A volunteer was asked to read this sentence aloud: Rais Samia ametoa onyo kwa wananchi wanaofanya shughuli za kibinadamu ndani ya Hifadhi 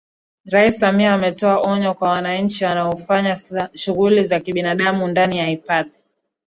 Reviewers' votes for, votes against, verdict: 0, 2, rejected